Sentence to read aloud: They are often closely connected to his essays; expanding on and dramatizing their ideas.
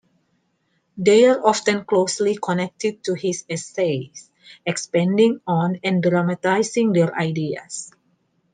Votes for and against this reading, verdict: 2, 0, accepted